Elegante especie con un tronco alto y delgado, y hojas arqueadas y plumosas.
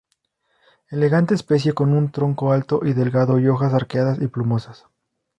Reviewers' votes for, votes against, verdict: 2, 0, accepted